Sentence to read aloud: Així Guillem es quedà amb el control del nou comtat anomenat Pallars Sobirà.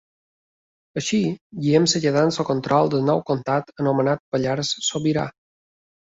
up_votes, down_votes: 2, 0